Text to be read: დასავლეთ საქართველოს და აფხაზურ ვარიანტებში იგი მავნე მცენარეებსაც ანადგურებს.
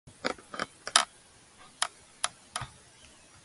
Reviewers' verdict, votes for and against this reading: rejected, 1, 2